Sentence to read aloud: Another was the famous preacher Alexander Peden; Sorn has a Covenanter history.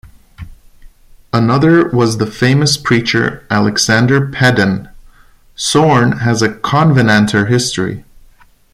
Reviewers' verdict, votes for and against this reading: rejected, 1, 2